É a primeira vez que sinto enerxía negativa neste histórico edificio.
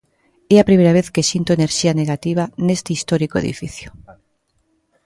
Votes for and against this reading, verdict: 2, 0, accepted